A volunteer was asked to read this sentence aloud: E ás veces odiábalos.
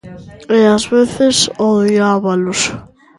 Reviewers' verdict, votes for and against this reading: rejected, 0, 2